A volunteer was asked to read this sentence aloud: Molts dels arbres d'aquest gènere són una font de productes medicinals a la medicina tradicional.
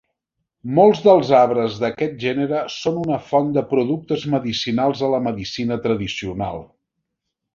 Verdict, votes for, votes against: accepted, 2, 0